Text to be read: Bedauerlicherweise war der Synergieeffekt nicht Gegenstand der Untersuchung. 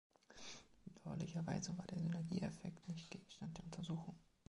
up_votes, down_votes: 1, 2